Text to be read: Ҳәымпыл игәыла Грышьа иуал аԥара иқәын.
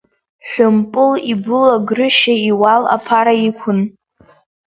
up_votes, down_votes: 1, 2